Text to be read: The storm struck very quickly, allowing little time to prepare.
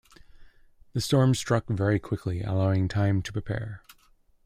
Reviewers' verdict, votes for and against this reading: rejected, 1, 2